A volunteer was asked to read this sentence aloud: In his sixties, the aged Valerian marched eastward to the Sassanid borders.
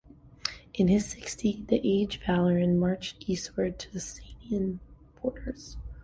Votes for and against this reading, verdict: 0, 2, rejected